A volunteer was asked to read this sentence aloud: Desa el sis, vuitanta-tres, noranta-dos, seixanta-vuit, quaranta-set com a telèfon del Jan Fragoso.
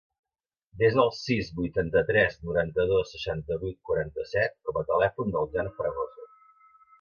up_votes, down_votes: 5, 0